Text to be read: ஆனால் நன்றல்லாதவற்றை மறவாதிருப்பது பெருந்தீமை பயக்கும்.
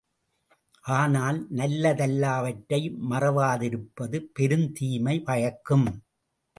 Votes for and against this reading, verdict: 0, 2, rejected